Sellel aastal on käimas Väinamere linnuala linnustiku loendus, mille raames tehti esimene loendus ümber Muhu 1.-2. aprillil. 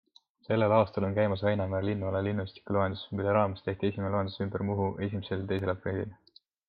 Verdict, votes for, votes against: rejected, 0, 2